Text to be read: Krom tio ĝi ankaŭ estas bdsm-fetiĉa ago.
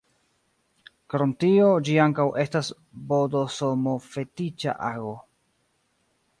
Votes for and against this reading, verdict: 0, 2, rejected